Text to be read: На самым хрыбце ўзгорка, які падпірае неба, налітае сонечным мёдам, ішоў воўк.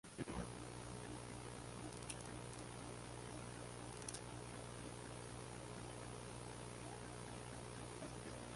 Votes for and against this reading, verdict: 0, 2, rejected